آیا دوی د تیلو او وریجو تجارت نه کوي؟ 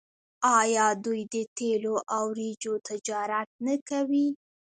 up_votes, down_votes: 2, 0